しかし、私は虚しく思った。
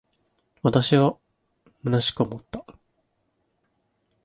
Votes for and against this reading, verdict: 2, 7, rejected